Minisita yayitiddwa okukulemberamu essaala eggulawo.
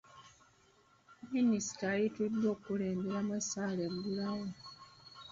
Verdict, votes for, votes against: accepted, 2, 1